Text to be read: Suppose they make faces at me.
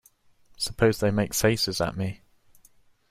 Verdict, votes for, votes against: accepted, 2, 0